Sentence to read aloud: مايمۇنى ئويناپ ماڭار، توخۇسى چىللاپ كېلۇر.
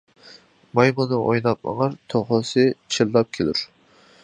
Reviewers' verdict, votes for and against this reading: rejected, 0, 3